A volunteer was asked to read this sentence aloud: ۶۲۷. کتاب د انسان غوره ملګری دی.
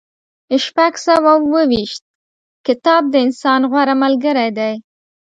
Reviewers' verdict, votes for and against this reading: rejected, 0, 2